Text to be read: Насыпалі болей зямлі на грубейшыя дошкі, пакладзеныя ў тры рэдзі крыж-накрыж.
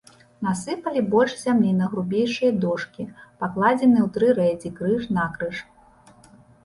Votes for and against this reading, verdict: 1, 2, rejected